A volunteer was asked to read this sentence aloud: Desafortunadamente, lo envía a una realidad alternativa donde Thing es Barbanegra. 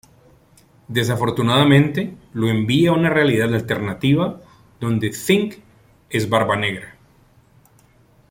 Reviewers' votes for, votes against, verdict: 1, 2, rejected